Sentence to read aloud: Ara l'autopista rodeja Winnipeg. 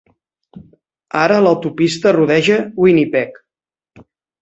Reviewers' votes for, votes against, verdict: 3, 0, accepted